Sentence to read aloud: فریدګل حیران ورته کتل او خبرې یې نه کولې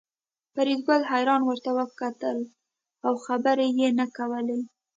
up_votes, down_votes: 2, 0